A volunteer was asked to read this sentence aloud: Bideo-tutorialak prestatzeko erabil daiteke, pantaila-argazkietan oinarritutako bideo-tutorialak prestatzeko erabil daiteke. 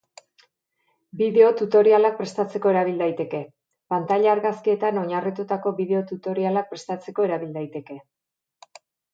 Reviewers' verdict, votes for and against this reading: accepted, 2, 0